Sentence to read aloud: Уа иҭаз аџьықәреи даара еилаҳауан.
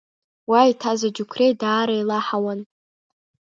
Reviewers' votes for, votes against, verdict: 1, 2, rejected